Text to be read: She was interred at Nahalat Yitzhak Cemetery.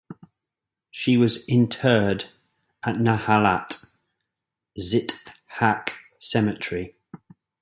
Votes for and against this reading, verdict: 0, 2, rejected